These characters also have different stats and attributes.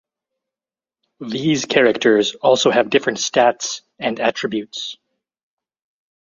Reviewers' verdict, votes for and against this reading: accepted, 2, 0